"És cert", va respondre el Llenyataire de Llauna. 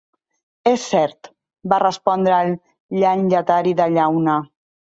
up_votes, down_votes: 0, 3